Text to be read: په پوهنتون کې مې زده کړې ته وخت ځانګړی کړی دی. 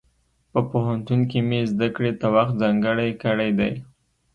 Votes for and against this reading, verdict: 2, 0, accepted